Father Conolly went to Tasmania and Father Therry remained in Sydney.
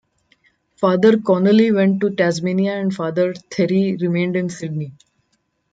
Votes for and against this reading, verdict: 1, 2, rejected